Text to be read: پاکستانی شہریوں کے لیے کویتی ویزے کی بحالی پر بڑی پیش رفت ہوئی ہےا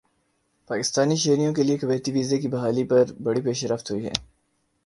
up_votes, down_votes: 2, 0